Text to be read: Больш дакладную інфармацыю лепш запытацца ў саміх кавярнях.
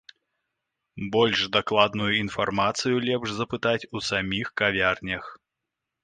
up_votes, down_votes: 1, 2